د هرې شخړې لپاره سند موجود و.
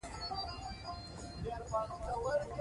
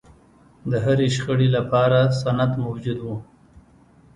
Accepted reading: second